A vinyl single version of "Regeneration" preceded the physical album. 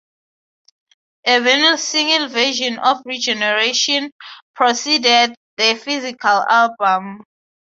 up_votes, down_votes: 3, 3